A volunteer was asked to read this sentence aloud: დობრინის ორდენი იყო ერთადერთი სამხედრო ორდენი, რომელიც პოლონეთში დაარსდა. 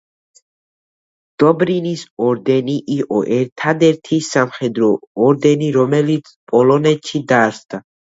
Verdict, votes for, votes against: accepted, 2, 0